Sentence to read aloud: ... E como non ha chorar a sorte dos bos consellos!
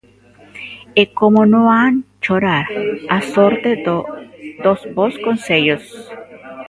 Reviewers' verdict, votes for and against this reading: rejected, 1, 2